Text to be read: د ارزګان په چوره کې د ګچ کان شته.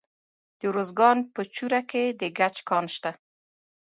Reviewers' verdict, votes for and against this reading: accepted, 2, 1